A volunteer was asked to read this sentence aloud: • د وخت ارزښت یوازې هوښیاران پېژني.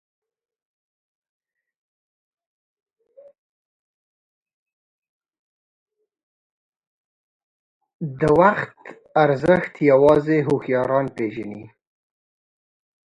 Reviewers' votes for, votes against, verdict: 1, 2, rejected